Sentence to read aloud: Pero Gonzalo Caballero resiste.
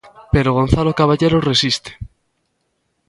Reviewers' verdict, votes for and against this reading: accepted, 2, 0